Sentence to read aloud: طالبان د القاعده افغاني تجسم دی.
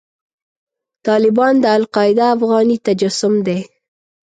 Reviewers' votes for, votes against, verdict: 0, 2, rejected